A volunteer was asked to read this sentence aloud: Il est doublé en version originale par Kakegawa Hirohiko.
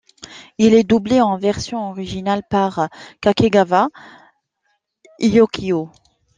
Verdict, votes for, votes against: rejected, 0, 2